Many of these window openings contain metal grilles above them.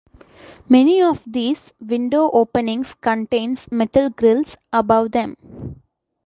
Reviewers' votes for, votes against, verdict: 0, 2, rejected